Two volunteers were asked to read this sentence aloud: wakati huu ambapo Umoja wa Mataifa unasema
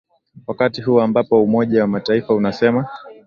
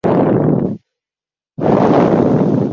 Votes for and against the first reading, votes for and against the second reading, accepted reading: 2, 0, 0, 2, first